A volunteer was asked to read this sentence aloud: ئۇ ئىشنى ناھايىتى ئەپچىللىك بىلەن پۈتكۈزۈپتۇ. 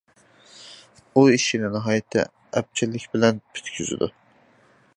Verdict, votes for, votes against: rejected, 0, 2